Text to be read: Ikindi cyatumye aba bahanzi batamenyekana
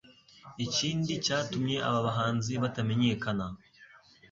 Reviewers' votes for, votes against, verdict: 2, 0, accepted